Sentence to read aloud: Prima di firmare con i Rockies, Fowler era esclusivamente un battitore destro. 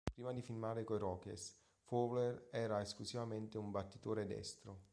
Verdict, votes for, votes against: accepted, 2, 0